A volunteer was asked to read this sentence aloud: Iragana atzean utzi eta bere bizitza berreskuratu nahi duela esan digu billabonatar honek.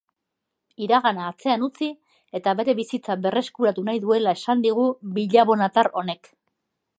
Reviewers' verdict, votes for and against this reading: accepted, 3, 0